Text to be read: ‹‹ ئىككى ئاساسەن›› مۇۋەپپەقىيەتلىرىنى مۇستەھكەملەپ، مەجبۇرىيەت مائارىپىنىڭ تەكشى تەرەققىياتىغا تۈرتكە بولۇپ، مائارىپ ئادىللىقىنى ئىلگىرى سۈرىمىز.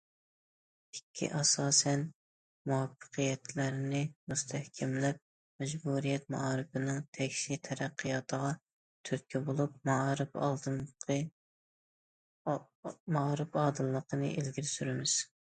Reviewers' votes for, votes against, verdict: 0, 2, rejected